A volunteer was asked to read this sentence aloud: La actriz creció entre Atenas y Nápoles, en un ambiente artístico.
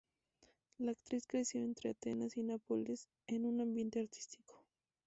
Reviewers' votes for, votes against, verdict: 2, 0, accepted